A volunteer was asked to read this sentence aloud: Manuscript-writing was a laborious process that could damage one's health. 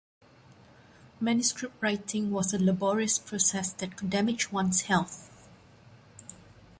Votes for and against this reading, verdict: 2, 1, accepted